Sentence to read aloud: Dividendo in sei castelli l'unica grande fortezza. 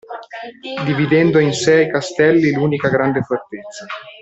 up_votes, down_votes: 1, 2